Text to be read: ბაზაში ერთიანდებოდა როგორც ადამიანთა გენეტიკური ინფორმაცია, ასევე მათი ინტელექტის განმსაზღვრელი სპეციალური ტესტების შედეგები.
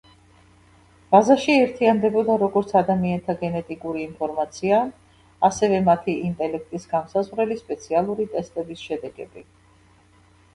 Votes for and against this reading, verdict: 1, 2, rejected